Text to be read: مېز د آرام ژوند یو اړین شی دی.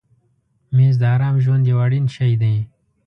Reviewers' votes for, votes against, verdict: 2, 0, accepted